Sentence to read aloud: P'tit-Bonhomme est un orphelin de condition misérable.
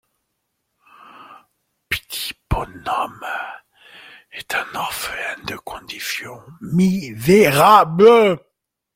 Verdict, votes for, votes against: accepted, 2, 1